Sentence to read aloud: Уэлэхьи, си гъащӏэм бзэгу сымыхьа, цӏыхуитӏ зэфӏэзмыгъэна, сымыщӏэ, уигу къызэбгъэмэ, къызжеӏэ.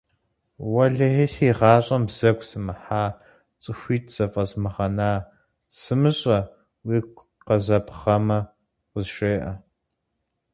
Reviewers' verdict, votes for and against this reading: accepted, 4, 0